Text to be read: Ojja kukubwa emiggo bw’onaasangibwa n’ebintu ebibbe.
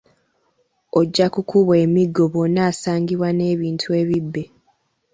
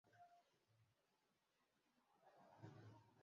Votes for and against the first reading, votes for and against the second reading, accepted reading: 2, 0, 0, 2, first